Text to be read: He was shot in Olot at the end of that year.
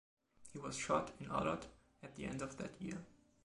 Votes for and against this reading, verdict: 2, 1, accepted